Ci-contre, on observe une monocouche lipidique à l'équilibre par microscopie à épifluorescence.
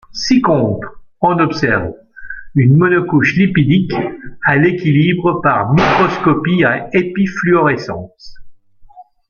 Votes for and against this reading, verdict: 1, 2, rejected